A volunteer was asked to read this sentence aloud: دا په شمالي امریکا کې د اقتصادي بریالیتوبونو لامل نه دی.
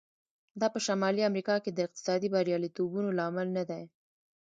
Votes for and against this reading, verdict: 2, 0, accepted